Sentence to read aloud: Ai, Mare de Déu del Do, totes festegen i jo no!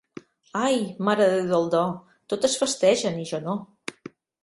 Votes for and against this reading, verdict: 4, 0, accepted